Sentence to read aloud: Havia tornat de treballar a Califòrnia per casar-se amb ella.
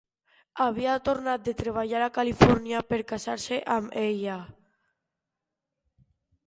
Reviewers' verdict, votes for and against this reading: rejected, 1, 2